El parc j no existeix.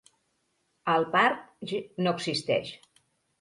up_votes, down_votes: 2, 3